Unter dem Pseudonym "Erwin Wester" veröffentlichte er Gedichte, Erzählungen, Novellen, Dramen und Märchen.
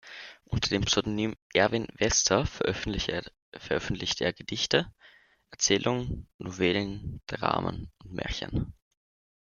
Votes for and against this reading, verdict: 0, 2, rejected